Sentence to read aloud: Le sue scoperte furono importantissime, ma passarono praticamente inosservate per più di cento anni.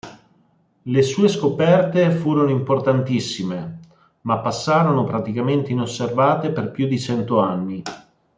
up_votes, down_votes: 2, 0